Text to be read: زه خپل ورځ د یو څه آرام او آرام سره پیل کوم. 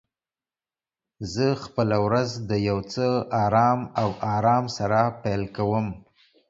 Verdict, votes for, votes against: accepted, 2, 0